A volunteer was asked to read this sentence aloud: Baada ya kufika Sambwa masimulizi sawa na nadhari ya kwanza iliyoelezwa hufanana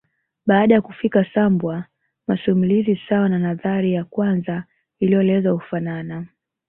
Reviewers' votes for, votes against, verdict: 2, 1, accepted